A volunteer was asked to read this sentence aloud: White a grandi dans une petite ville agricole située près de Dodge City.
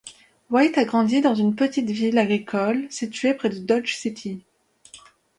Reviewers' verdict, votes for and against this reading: accepted, 2, 0